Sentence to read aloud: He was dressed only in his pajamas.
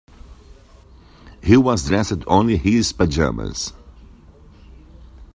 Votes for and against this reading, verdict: 2, 1, accepted